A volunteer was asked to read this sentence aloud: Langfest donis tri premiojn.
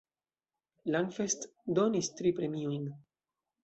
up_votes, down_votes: 2, 0